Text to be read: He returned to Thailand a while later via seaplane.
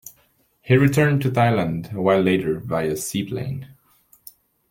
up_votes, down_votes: 2, 0